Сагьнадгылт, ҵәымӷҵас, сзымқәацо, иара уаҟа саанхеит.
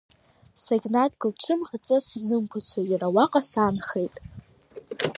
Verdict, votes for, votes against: rejected, 0, 2